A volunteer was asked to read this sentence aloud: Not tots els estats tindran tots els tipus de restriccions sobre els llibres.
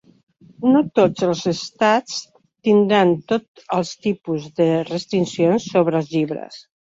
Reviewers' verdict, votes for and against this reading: rejected, 1, 2